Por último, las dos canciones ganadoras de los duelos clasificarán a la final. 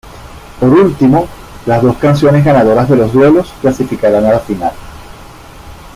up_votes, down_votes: 2, 0